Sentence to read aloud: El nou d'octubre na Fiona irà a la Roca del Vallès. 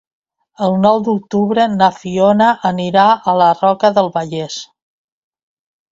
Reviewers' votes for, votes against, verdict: 0, 2, rejected